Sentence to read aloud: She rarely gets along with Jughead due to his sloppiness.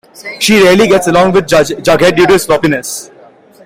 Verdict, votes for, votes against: accepted, 2, 1